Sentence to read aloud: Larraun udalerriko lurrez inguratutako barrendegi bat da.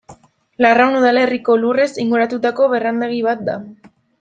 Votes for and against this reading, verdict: 2, 0, accepted